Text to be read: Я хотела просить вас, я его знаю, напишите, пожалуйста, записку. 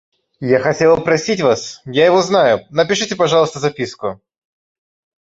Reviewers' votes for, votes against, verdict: 2, 0, accepted